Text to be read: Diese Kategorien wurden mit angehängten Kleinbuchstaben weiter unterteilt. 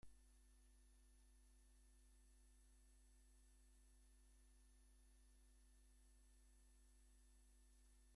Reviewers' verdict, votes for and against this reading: rejected, 0, 2